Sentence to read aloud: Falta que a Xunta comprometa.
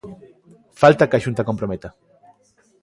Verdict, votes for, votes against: rejected, 1, 2